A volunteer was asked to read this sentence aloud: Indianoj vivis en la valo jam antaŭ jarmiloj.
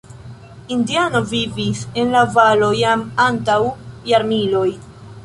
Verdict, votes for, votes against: accepted, 2, 1